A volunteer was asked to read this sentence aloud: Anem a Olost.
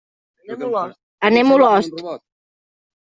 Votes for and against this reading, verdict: 2, 3, rejected